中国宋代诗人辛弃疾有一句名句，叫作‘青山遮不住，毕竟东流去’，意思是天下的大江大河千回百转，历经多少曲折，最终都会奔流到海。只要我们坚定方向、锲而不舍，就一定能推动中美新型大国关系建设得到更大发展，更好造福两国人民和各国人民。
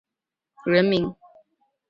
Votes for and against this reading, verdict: 3, 4, rejected